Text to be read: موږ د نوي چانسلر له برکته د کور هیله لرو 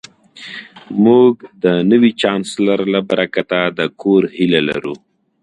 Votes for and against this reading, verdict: 2, 1, accepted